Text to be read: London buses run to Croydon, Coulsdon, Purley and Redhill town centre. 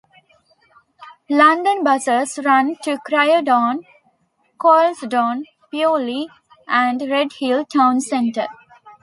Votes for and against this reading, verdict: 1, 2, rejected